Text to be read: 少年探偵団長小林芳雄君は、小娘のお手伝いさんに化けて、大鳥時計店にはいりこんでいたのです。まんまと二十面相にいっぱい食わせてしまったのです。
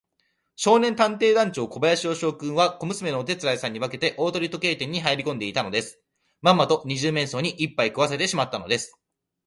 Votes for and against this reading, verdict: 2, 0, accepted